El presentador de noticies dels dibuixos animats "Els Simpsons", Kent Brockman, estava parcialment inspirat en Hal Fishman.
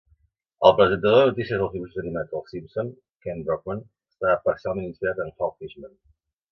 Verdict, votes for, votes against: rejected, 0, 2